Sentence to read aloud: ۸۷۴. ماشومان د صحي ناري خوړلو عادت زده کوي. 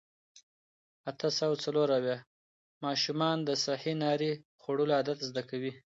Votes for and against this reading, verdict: 0, 2, rejected